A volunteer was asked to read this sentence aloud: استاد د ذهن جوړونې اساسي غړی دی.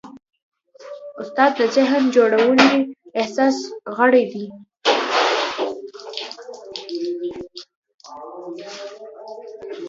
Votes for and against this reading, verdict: 1, 2, rejected